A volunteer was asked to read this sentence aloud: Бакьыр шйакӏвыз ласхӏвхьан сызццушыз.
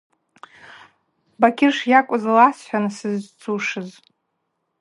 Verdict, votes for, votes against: rejected, 2, 2